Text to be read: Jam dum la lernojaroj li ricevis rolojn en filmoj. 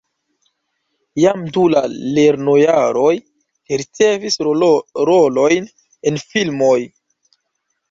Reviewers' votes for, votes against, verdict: 1, 2, rejected